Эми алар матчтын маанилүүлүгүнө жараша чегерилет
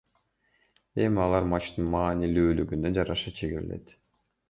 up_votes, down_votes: 1, 2